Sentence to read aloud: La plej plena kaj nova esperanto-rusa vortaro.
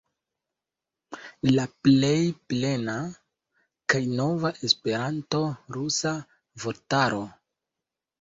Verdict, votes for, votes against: rejected, 0, 3